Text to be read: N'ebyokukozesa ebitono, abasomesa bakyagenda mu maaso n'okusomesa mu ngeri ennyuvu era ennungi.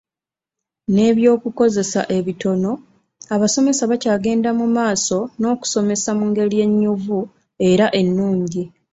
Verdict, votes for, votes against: accepted, 2, 0